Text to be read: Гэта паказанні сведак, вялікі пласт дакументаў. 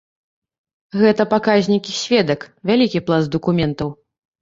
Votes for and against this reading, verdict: 1, 2, rejected